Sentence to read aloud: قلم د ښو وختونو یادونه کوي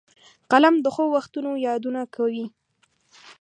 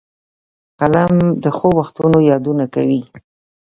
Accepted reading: first